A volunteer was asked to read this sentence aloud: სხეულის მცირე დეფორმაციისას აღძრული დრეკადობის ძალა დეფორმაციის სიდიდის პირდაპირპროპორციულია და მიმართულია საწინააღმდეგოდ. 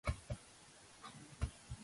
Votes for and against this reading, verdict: 0, 2, rejected